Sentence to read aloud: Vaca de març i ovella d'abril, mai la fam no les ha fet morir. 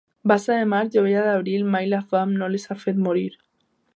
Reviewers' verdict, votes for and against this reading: rejected, 0, 2